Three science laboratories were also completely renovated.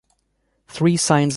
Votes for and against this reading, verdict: 0, 2, rejected